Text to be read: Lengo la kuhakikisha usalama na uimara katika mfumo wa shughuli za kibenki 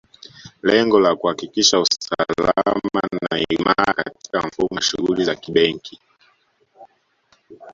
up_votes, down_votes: 1, 2